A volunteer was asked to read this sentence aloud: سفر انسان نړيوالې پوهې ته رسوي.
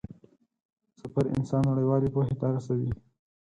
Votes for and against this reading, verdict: 4, 2, accepted